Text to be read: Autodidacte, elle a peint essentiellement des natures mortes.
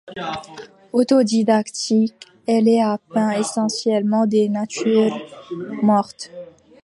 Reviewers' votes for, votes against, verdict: 0, 2, rejected